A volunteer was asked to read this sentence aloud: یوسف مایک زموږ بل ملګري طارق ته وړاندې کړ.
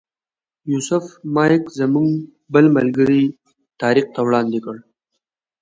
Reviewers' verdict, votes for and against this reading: accepted, 2, 0